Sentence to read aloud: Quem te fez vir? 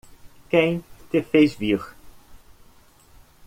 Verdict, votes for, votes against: accepted, 2, 0